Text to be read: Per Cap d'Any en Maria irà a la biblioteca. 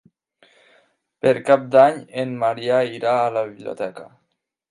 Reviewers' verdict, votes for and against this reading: rejected, 1, 2